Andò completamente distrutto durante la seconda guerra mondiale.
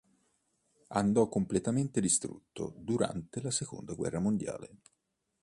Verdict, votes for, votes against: accepted, 2, 0